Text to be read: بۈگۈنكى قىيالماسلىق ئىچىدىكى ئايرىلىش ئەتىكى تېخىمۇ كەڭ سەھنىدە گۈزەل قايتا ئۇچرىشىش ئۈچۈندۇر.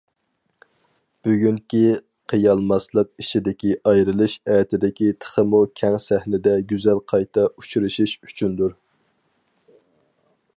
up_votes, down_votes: 2, 2